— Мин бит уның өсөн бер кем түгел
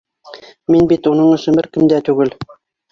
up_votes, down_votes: 1, 2